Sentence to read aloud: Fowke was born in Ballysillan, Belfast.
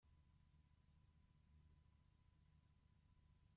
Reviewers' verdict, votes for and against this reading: rejected, 0, 2